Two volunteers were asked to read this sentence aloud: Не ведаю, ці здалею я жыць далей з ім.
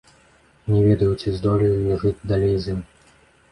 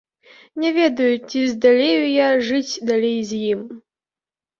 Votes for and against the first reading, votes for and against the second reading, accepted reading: 1, 2, 2, 0, second